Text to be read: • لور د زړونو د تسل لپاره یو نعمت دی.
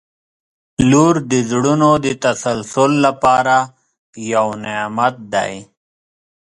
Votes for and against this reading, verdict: 2, 3, rejected